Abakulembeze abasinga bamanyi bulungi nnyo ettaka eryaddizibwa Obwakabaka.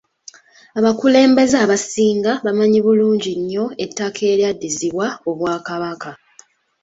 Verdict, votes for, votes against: accepted, 2, 0